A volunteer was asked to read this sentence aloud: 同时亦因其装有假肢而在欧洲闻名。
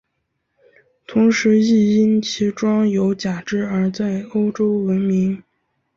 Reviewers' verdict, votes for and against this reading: accepted, 3, 0